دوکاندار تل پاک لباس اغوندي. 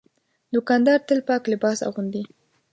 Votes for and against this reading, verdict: 2, 0, accepted